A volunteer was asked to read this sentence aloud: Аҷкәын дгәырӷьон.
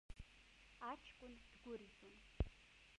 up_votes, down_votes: 0, 2